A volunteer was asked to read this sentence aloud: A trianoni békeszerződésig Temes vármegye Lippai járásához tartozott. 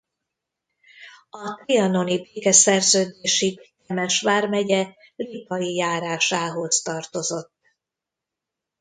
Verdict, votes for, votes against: rejected, 0, 2